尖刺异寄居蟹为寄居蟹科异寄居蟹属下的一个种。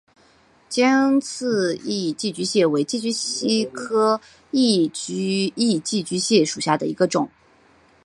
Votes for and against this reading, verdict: 2, 0, accepted